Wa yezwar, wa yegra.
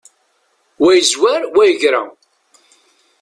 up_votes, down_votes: 0, 2